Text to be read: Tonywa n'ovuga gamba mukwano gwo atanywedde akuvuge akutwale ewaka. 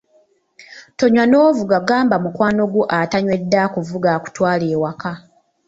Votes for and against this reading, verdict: 2, 0, accepted